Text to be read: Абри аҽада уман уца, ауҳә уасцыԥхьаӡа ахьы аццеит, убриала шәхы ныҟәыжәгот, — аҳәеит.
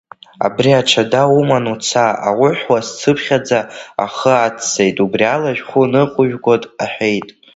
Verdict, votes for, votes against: rejected, 0, 2